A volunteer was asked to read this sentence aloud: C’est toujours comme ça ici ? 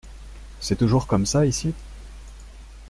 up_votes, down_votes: 2, 0